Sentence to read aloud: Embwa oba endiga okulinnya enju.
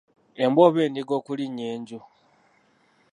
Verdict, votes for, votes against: rejected, 0, 2